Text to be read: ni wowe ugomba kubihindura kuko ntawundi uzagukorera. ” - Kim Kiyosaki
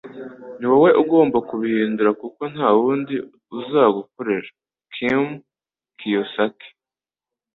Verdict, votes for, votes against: accepted, 3, 0